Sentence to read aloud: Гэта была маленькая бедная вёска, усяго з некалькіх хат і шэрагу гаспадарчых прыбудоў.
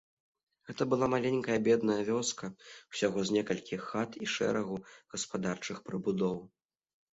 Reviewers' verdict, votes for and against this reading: accepted, 2, 0